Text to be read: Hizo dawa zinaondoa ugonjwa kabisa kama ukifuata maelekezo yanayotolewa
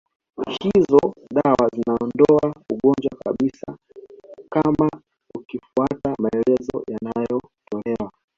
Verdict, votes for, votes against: rejected, 0, 2